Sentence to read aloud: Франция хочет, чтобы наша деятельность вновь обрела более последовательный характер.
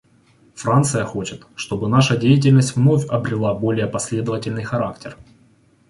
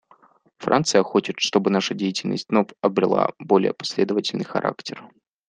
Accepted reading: second